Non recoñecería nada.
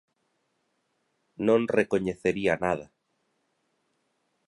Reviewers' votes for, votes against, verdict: 2, 0, accepted